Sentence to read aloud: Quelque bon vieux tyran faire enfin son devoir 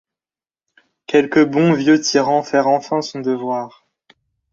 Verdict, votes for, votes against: accepted, 2, 0